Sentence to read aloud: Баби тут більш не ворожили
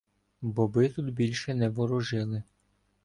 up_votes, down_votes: 0, 2